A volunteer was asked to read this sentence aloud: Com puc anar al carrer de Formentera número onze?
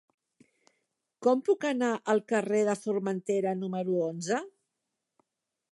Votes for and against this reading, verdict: 4, 0, accepted